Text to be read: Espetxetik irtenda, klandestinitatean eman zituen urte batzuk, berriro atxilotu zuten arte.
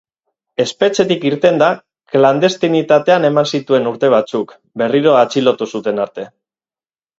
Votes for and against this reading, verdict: 4, 0, accepted